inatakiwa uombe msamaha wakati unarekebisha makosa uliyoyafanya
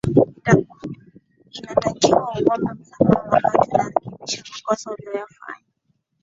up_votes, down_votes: 1, 2